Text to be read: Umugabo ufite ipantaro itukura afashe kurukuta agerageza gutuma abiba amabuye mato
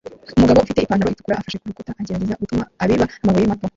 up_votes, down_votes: 0, 2